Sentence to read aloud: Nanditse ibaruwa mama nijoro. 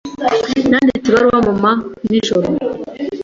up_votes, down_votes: 2, 0